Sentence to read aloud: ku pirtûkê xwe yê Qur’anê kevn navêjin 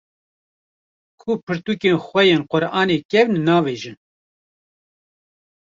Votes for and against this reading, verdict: 0, 2, rejected